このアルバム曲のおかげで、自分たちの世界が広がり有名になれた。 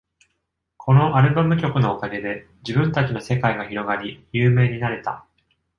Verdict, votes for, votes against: accepted, 2, 0